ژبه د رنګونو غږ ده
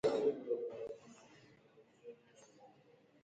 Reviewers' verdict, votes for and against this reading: rejected, 0, 2